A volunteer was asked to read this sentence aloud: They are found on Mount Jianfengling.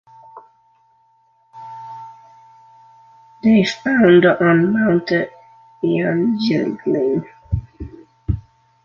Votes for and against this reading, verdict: 1, 2, rejected